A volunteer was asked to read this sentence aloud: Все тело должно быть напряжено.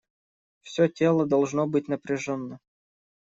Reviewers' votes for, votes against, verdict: 1, 2, rejected